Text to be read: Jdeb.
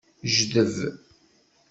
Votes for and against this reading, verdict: 2, 0, accepted